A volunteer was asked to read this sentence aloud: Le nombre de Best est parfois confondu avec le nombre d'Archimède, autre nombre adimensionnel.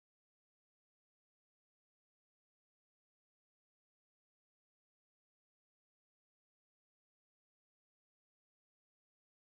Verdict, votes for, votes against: rejected, 0, 2